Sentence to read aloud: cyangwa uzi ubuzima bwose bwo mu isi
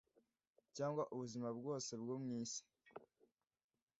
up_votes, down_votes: 1, 2